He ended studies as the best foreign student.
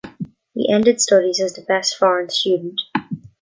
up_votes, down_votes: 2, 1